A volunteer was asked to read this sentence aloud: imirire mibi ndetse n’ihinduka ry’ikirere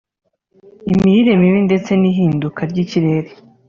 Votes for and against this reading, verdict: 2, 0, accepted